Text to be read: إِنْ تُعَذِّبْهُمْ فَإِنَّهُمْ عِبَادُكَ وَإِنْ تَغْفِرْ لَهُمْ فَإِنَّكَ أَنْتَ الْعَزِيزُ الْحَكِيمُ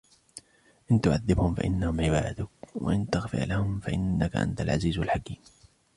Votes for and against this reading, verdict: 1, 2, rejected